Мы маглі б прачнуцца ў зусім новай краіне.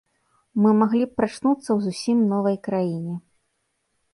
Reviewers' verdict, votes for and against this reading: accepted, 2, 0